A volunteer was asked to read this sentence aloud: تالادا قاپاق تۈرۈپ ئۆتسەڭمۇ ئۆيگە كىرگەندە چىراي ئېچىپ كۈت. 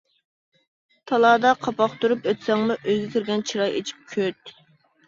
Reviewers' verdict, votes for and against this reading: rejected, 1, 2